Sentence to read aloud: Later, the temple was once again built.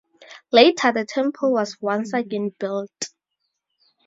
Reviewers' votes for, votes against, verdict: 2, 4, rejected